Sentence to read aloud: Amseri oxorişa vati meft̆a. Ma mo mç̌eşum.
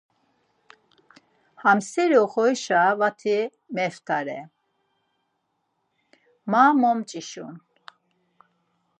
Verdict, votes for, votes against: rejected, 0, 4